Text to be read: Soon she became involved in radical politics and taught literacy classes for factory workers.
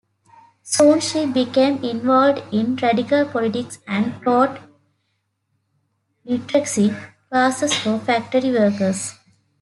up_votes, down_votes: 0, 2